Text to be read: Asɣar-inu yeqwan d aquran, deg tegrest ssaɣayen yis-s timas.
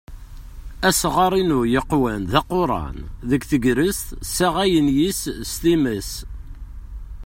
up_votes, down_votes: 1, 2